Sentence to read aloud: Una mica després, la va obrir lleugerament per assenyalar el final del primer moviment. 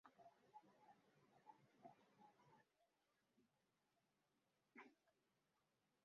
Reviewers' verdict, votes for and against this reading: rejected, 0, 2